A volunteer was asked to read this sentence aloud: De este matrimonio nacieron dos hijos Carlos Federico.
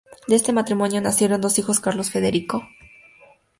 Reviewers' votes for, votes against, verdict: 2, 0, accepted